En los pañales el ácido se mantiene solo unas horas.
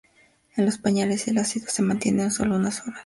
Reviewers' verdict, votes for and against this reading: accepted, 2, 0